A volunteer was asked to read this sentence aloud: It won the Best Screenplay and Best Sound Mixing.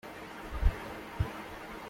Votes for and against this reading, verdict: 0, 2, rejected